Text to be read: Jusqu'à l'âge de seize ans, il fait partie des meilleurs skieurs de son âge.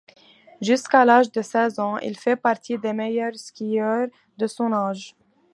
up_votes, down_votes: 2, 0